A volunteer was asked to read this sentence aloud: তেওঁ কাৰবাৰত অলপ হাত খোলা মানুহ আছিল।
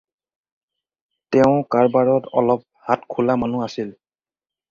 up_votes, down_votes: 4, 0